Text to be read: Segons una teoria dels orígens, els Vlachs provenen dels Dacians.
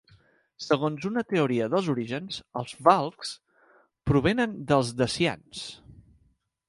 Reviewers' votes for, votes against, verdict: 0, 2, rejected